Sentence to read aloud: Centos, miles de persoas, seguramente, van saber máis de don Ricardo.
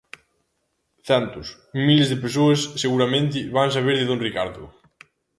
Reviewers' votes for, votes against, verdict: 1, 2, rejected